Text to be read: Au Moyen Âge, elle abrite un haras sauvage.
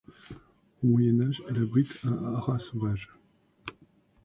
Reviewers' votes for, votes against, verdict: 1, 2, rejected